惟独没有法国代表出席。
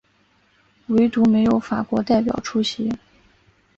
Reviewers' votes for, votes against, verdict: 2, 0, accepted